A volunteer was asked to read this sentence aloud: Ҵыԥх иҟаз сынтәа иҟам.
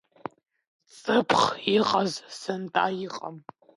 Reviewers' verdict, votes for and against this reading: rejected, 0, 2